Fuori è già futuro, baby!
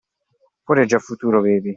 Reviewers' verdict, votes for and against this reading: accepted, 2, 0